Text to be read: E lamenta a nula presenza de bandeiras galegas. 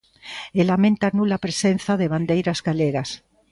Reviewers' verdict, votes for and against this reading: accepted, 2, 0